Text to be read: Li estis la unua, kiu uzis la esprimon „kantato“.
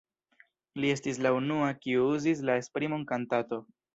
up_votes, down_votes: 1, 2